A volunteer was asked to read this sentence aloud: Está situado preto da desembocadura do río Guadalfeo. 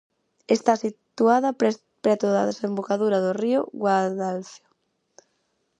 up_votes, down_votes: 0, 4